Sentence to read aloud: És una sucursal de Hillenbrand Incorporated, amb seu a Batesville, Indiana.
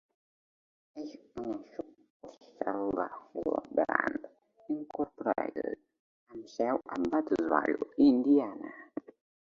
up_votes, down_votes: 0, 2